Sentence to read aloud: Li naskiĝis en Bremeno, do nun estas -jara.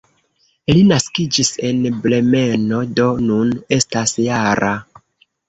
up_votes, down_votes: 2, 1